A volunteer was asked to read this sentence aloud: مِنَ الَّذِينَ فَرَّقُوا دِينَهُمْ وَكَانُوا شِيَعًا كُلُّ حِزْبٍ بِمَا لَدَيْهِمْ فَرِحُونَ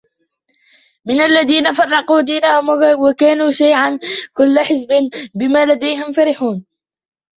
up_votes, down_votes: 2, 0